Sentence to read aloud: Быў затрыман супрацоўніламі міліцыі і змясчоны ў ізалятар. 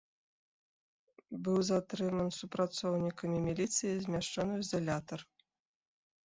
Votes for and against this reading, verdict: 1, 2, rejected